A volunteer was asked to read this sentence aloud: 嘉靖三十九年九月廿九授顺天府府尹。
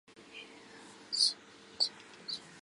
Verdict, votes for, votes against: rejected, 0, 3